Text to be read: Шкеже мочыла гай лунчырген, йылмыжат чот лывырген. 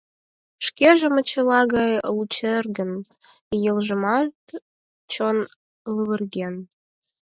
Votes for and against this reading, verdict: 2, 12, rejected